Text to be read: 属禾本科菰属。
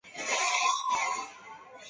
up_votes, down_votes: 0, 2